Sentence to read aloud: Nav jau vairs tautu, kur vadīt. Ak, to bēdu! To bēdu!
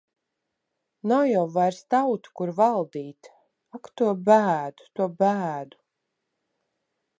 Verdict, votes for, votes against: rejected, 0, 2